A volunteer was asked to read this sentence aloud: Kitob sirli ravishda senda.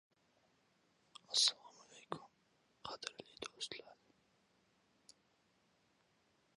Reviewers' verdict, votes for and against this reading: rejected, 0, 2